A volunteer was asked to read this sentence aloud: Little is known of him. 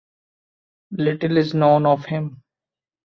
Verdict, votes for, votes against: accepted, 2, 0